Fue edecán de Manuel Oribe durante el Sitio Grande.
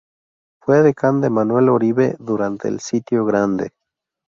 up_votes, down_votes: 2, 0